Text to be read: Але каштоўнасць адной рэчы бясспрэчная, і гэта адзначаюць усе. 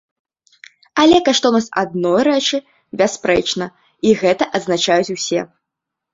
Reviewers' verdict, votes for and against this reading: rejected, 0, 2